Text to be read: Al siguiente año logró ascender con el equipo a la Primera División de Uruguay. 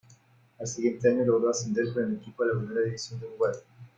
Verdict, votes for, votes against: rejected, 1, 2